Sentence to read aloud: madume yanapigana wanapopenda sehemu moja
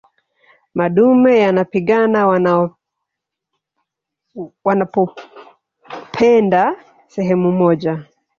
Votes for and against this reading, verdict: 0, 3, rejected